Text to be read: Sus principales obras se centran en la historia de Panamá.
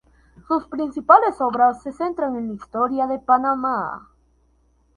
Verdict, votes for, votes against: rejected, 2, 4